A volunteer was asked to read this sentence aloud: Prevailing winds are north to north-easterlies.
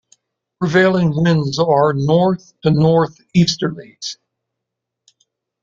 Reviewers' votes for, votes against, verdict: 2, 0, accepted